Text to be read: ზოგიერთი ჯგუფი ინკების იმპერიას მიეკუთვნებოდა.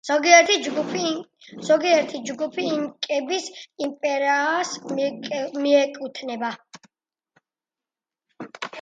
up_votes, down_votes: 0, 2